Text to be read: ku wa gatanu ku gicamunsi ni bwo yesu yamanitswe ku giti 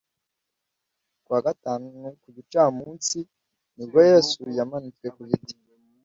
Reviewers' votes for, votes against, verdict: 2, 0, accepted